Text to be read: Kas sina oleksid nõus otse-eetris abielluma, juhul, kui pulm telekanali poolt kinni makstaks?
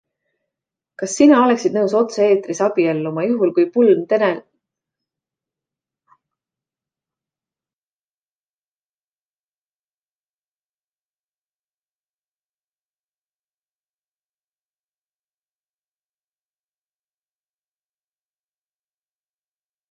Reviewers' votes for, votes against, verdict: 0, 2, rejected